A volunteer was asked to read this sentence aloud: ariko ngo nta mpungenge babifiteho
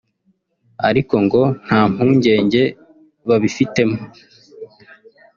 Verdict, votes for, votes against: rejected, 1, 2